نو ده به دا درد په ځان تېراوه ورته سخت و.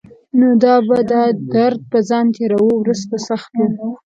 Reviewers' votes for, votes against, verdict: 1, 2, rejected